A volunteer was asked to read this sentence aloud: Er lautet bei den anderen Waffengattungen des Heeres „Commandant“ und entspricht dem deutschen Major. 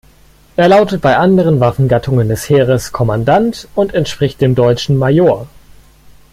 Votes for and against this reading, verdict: 1, 2, rejected